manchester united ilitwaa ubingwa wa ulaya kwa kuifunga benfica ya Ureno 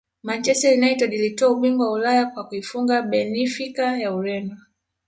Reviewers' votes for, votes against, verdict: 1, 2, rejected